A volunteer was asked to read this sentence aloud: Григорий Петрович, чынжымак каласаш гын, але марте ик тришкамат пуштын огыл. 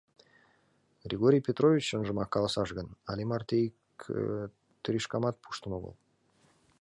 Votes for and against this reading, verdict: 2, 0, accepted